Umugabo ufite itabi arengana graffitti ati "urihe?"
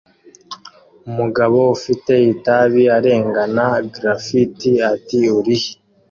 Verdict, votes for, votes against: accepted, 2, 1